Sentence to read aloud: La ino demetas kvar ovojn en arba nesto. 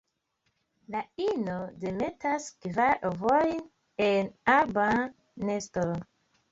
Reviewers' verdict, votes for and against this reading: accepted, 2, 0